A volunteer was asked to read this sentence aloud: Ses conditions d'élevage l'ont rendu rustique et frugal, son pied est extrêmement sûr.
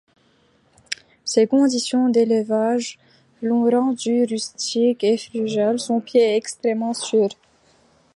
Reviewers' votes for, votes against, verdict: 0, 2, rejected